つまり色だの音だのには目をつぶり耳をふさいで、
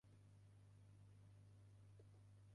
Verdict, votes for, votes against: rejected, 0, 2